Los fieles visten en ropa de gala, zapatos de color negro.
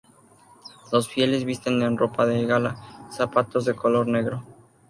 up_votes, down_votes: 2, 0